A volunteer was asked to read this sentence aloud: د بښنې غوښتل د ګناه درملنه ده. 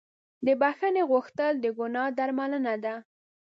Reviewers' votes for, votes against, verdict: 2, 0, accepted